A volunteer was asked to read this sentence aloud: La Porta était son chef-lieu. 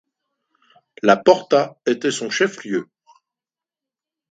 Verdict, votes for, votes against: accepted, 2, 1